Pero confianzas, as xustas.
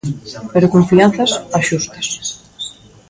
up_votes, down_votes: 2, 1